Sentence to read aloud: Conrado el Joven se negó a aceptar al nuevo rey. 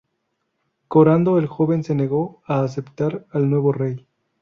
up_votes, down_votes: 2, 0